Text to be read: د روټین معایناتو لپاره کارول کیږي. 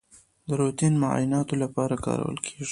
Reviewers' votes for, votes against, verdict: 1, 2, rejected